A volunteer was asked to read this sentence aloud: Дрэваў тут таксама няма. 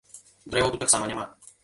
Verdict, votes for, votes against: rejected, 0, 2